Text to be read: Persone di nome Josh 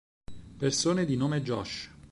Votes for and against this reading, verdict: 4, 0, accepted